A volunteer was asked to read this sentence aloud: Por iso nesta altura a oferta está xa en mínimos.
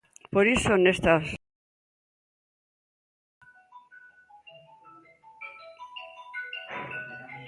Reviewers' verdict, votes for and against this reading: rejected, 0, 2